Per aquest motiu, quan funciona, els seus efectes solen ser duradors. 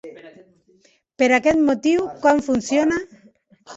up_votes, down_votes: 1, 2